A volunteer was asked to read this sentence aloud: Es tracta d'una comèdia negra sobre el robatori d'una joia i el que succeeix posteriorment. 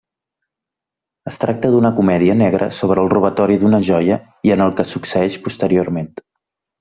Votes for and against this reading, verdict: 1, 2, rejected